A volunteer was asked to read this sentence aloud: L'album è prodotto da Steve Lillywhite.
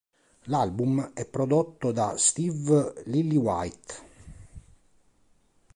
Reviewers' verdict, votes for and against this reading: accepted, 2, 0